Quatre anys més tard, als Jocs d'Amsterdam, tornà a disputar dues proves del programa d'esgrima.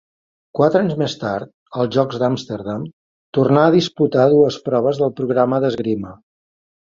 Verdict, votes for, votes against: accepted, 2, 0